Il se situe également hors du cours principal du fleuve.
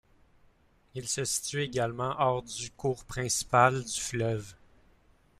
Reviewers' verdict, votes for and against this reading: rejected, 1, 2